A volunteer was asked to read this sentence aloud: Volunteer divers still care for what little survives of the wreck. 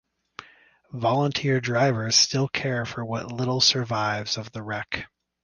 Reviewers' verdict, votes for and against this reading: rejected, 3, 3